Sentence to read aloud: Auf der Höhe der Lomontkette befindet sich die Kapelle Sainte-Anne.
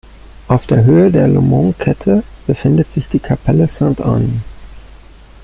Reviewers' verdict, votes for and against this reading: accepted, 2, 0